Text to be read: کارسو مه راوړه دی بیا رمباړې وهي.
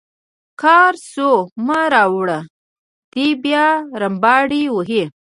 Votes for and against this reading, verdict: 2, 0, accepted